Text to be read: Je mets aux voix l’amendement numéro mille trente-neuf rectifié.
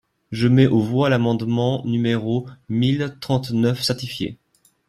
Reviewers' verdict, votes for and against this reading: rejected, 0, 2